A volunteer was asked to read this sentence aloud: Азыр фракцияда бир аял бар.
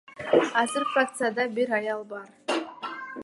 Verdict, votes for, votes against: accepted, 2, 0